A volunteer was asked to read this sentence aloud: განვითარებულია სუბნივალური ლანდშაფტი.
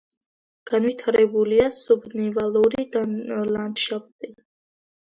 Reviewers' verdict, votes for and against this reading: accepted, 2, 1